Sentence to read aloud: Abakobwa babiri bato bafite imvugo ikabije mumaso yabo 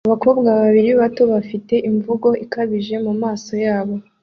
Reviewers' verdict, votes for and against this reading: accepted, 2, 0